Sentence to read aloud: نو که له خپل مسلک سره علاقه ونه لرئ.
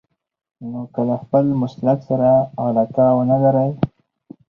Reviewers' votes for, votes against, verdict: 4, 0, accepted